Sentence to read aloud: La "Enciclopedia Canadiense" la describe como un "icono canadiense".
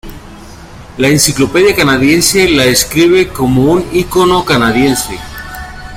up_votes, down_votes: 2, 0